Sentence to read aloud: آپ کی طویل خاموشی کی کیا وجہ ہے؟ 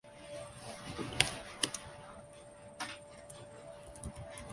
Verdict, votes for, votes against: rejected, 0, 2